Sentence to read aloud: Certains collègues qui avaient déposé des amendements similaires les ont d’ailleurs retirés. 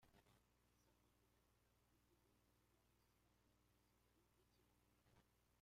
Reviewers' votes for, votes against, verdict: 0, 2, rejected